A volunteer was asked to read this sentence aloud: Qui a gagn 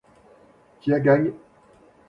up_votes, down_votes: 0, 2